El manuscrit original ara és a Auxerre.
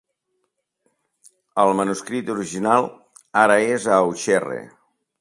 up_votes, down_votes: 2, 3